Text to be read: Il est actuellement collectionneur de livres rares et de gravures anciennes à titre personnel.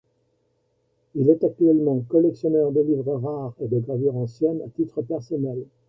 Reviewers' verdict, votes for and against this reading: rejected, 0, 2